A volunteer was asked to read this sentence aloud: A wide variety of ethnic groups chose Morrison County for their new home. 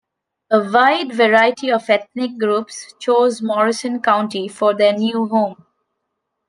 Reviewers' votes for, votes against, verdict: 2, 0, accepted